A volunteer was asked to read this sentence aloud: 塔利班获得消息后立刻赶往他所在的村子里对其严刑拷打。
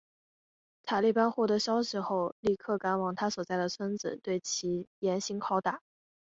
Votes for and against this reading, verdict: 4, 0, accepted